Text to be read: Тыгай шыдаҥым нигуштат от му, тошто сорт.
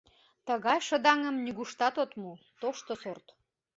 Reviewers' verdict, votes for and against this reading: accepted, 2, 0